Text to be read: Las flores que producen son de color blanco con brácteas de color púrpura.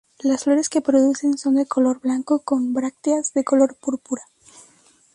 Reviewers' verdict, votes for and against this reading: accepted, 2, 0